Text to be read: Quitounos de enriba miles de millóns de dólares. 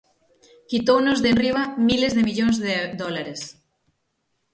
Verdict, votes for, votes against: rejected, 0, 6